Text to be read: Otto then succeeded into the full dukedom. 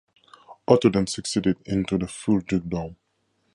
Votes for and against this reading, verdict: 2, 0, accepted